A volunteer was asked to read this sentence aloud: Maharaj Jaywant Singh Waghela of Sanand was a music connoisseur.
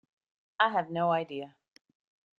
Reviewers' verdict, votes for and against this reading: rejected, 0, 2